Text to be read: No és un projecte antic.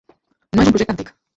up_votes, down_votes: 0, 2